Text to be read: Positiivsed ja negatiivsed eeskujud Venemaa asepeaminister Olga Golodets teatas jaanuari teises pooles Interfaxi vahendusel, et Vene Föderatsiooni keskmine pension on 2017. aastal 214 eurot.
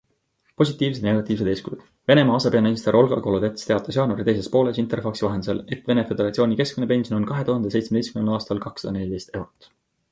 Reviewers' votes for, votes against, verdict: 0, 2, rejected